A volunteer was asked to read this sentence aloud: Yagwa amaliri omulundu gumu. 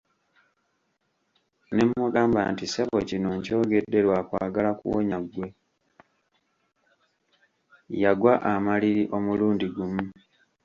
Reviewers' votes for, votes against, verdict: 1, 2, rejected